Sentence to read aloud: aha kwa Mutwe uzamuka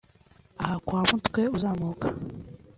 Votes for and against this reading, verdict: 2, 0, accepted